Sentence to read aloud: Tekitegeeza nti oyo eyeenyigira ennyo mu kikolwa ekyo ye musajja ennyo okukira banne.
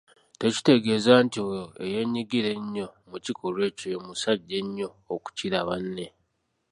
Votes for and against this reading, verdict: 2, 0, accepted